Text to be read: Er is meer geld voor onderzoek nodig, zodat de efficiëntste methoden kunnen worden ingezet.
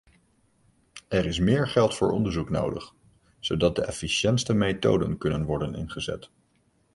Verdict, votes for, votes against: accepted, 2, 0